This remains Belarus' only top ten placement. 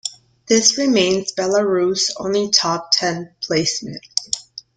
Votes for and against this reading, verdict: 2, 0, accepted